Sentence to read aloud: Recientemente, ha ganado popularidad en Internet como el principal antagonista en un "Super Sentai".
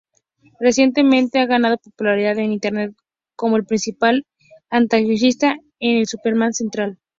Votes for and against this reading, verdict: 2, 2, rejected